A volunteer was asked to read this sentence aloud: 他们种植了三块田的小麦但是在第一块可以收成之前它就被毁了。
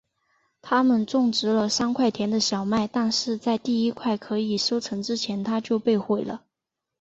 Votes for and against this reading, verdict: 2, 0, accepted